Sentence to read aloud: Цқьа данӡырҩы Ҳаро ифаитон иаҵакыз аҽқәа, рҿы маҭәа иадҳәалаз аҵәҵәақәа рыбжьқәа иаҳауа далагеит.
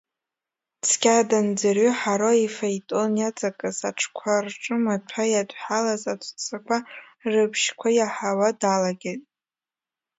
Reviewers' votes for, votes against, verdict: 1, 2, rejected